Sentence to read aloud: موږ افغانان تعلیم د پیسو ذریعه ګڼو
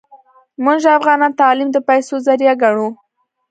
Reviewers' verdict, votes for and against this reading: accepted, 2, 0